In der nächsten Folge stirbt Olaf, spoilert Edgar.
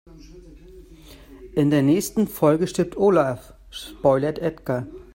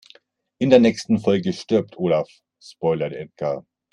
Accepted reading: second